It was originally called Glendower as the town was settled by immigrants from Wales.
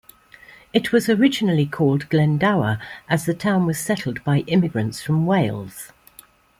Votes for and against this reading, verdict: 2, 0, accepted